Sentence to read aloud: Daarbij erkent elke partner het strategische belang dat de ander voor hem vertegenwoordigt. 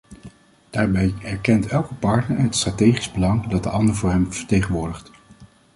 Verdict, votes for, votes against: accepted, 2, 0